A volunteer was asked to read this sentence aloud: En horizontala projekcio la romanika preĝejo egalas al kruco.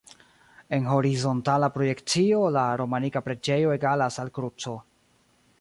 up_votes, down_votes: 1, 2